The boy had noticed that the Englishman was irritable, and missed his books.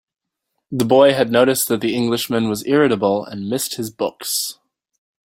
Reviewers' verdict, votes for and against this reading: accepted, 3, 0